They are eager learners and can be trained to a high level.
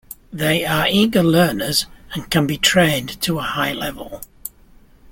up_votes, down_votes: 1, 2